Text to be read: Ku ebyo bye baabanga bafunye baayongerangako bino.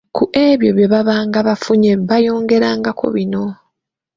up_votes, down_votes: 2, 1